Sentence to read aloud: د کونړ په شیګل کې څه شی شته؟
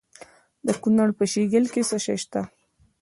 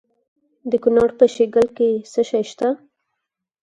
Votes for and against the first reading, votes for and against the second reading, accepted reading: 0, 2, 4, 0, second